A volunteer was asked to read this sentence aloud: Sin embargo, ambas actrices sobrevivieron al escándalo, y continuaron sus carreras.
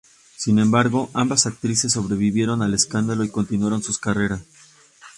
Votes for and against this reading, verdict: 0, 2, rejected